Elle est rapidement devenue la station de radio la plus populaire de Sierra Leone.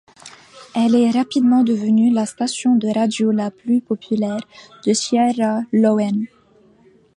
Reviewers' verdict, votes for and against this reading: rejected, 1, 2